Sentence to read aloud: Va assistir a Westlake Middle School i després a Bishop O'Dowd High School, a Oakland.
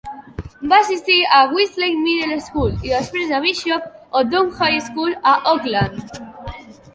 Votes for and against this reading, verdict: 2, 0, accepted